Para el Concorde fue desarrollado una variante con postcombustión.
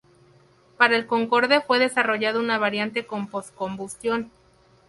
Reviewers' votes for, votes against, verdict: 2, 2, rejected